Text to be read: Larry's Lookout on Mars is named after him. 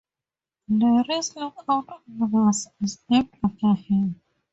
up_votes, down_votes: 0, 2